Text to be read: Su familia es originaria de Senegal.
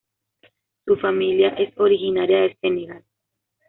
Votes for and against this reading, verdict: 2, 0, accepted